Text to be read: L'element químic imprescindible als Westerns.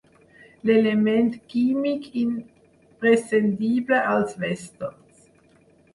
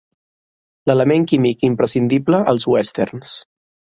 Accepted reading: second